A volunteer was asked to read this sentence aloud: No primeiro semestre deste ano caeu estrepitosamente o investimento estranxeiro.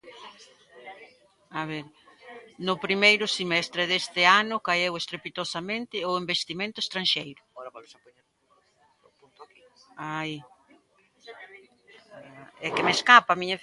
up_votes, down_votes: 0, 2